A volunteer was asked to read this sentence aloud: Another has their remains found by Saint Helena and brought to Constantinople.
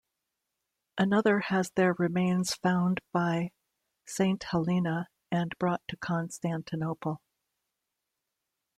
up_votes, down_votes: 2, 0